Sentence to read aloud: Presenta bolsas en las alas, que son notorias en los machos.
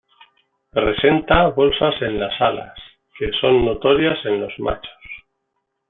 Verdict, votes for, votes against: accepted, 2, 0